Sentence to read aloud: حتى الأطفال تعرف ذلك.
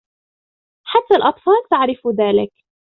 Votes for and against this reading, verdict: 2, 0, accepted